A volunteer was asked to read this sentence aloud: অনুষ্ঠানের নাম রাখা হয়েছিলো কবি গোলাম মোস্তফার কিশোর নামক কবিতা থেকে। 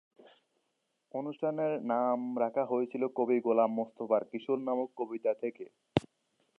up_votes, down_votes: 0, 2